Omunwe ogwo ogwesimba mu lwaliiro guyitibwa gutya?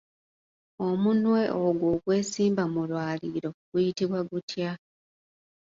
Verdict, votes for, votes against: accepted, 2, 0